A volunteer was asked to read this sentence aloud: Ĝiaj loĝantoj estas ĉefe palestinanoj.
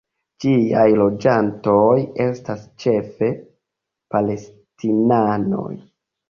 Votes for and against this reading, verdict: 2, 0, accepted